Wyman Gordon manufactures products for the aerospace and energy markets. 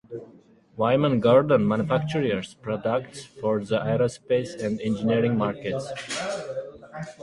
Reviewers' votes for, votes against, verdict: 0, 6, rejected